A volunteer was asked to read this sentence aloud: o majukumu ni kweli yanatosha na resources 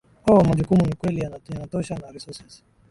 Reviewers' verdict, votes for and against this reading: rejected, 0, 2